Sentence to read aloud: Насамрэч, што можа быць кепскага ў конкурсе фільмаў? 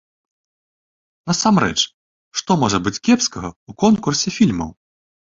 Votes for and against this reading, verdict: 2, 0, accepted